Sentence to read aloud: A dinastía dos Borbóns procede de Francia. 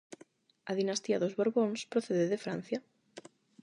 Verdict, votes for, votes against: accepted, 8, 0